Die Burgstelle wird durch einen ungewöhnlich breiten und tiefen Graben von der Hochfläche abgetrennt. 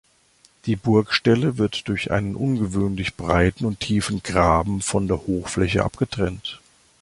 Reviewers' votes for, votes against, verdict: 2, 0, accepted